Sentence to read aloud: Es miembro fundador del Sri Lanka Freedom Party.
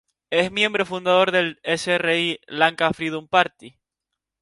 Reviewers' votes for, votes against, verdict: 0, 4, rejected